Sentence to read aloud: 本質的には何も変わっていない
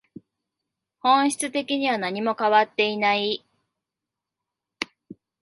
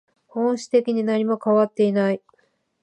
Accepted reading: first